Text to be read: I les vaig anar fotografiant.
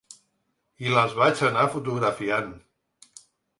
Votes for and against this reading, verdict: 5, 0, accepted